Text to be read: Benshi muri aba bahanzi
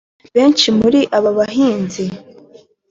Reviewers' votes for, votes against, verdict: 2, 0, accepted